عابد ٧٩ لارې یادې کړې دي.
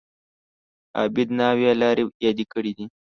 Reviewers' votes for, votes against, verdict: 0, 2, rejected